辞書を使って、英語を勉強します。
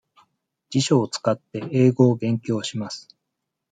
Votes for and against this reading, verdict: 2, 0, accepted